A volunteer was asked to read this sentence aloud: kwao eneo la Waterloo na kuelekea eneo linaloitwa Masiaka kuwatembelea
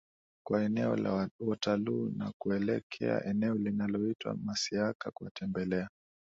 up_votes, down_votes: 10, 3